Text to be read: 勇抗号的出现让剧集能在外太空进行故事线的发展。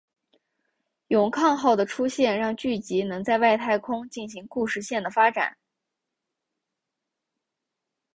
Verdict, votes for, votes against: accepted, 2, 0